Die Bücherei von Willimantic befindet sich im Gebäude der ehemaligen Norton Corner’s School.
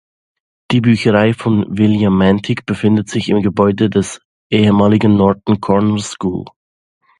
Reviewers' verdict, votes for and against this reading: rejected, 0, 2